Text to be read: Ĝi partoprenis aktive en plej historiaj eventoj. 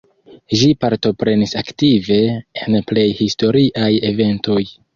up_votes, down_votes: 2, 0